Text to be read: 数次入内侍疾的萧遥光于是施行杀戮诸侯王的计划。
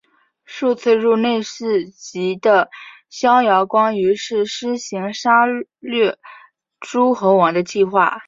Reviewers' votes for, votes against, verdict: 2, 3, rejected